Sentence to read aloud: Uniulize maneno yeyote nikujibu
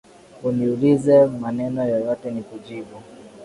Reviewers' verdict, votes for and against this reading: accepted, 3, 1